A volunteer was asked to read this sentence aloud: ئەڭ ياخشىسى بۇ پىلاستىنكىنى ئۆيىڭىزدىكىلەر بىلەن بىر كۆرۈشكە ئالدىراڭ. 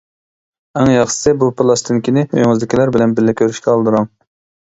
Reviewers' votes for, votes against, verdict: 1, 2, rejected